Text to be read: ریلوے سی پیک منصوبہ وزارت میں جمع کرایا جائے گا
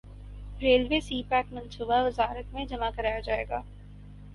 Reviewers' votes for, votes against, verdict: 4, 0, accepted